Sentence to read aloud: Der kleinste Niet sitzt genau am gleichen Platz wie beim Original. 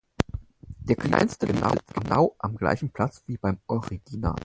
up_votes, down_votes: 0, 4